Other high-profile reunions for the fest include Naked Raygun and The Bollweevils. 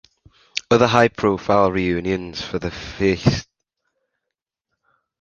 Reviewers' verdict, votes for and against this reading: rejected, 0, 2